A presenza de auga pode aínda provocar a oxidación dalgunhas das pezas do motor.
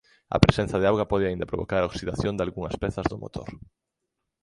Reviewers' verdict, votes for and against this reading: accepted, 3, 1